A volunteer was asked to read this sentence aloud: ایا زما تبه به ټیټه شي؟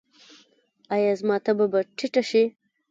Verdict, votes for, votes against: rejected, 1, 2